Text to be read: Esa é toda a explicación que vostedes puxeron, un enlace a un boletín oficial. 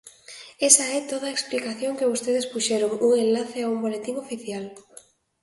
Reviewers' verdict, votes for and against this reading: accepted, 2, 0